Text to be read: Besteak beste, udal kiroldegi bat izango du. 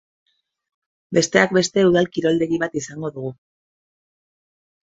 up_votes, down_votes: 0, 2